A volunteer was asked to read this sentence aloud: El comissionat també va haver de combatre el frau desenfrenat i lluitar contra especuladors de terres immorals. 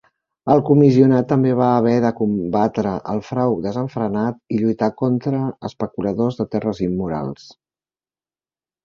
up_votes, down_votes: 3, 0